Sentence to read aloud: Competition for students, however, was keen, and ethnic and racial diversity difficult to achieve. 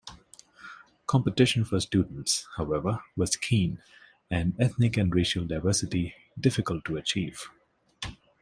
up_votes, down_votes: 2, 1